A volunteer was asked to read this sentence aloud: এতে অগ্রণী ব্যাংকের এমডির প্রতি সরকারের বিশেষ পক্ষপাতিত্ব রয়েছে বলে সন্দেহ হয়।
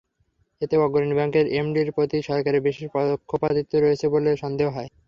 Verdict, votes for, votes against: rejected, 0, 3